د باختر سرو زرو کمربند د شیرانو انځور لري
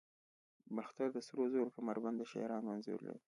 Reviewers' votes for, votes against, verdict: 1, 2, rejected